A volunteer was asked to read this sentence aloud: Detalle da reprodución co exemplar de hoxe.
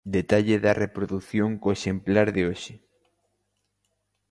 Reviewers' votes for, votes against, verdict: 3, 0, accepted